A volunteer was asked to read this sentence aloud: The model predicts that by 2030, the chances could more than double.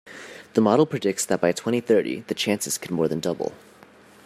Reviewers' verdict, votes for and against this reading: rejected, 0, 2